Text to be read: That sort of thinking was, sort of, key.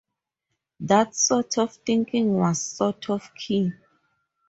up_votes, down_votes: 6, 0